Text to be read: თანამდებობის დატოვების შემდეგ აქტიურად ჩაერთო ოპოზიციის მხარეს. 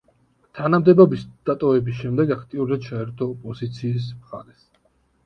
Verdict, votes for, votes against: accepted, 2, 0